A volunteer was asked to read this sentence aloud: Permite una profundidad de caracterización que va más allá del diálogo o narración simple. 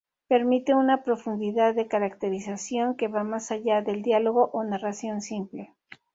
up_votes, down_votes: 2, 0